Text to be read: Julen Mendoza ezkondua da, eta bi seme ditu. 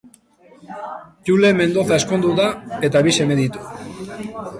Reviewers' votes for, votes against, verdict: 0, 3, rejected